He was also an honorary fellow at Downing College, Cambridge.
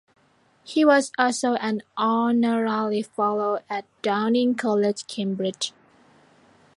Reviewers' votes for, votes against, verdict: 1, 2, rejected